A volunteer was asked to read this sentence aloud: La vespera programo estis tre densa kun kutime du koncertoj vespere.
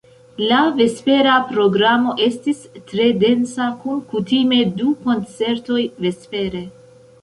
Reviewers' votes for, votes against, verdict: 2, 1, accepted